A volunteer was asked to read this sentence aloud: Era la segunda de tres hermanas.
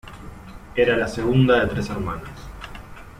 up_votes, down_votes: 2, 1